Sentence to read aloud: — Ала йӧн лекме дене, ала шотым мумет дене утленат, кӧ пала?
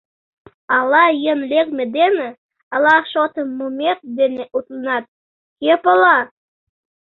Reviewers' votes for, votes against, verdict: 2, 0, accepted